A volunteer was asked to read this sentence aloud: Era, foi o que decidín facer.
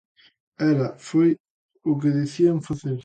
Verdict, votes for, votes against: rejected, 0, 2